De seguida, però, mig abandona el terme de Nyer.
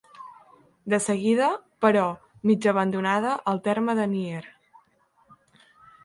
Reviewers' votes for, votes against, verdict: 0, 2, rejected